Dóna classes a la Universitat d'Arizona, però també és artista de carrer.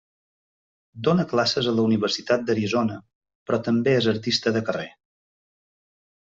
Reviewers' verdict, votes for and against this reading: accepted, 3, 0